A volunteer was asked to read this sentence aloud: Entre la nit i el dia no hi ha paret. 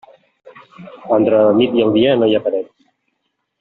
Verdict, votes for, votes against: rejected, 1, 2